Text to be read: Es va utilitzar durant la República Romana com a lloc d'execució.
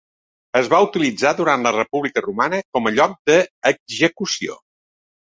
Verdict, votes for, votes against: rejected, 0, 2